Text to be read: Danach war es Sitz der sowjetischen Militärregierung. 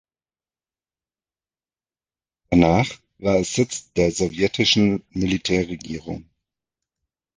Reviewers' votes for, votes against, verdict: 1, 2, rejected